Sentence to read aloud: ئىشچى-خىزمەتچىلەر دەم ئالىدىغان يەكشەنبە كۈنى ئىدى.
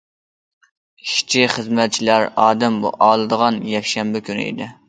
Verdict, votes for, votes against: rejected, 0, 2